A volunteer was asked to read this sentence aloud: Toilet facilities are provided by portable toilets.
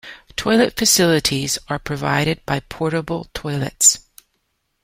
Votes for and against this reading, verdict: 2, 0, accepted